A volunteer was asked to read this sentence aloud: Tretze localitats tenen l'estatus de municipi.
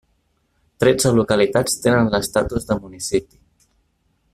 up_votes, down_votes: 3, 0